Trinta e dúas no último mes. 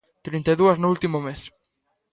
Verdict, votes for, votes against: accepted, 2, 0